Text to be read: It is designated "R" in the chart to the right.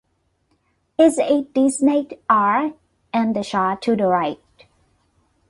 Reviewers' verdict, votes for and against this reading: rejected, 0, 2